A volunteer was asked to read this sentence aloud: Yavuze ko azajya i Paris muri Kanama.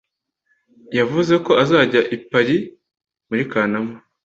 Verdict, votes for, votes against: accepted, 2, 0